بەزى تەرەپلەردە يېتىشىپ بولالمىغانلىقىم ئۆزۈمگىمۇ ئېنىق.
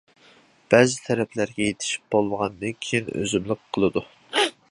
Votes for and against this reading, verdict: 0, 2, rejected